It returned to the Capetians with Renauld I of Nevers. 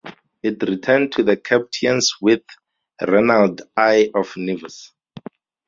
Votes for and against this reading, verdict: 0, 2, rejected